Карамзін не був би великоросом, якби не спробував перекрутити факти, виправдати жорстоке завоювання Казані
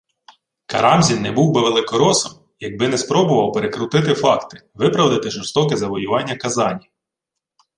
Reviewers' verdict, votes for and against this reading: accepted, 2, 0